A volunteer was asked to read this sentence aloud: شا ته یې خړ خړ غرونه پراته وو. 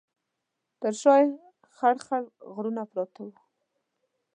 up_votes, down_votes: 1, 2